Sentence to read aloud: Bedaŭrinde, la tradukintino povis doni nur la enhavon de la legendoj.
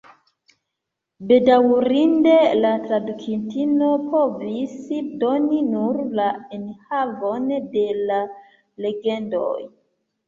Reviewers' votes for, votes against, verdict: 3, 0, accepted